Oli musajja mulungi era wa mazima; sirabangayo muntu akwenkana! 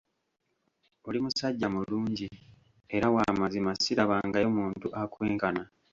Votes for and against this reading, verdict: 1, 2, rejected